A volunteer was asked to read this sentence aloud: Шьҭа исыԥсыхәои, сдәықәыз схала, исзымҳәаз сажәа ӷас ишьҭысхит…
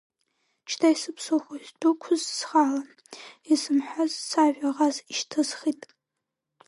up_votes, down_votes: 0, 2